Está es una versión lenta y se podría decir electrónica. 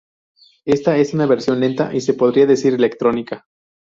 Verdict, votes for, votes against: rejected, 2, 2